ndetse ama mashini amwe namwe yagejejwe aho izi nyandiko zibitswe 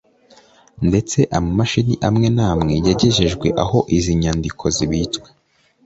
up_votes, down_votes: 2, 0